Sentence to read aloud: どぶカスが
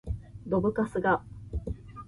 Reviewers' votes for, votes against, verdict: 2, 0, accepted